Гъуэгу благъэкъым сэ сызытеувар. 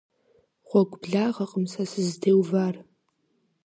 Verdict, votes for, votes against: accepted, 2, 0